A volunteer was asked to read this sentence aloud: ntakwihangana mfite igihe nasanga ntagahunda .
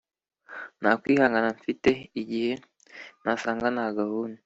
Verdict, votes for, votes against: accepted, 3, 0